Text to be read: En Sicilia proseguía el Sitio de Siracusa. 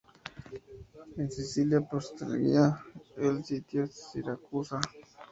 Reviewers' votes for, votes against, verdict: 0, 2, rejected